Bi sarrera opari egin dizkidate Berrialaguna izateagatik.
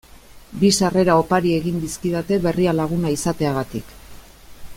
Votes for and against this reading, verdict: 2, 0, accepted